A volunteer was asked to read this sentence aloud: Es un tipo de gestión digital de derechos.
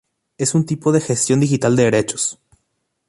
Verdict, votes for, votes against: rejected, 0, 2